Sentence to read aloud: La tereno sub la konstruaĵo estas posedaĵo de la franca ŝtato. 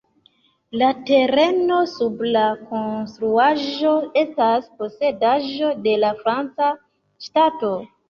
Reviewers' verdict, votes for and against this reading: accepted, 2, 1